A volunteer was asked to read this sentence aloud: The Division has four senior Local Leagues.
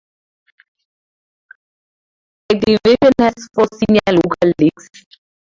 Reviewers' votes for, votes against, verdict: 0, 2, rejected